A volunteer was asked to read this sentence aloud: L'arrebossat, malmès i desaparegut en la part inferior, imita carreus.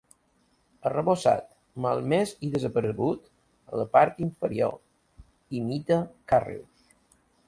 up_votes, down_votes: 1, 2